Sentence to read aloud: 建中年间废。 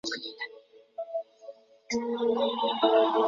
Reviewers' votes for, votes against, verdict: 0, 3, rejected